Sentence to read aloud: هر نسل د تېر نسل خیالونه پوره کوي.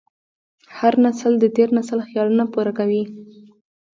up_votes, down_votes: 2, 0